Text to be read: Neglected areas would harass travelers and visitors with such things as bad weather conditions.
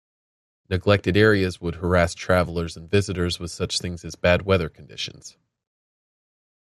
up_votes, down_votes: 2, 0